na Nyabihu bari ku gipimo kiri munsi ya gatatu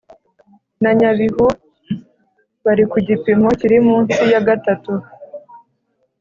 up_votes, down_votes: 2, 0